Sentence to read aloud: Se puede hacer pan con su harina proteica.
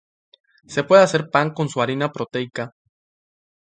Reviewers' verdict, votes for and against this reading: accepted, 2, 0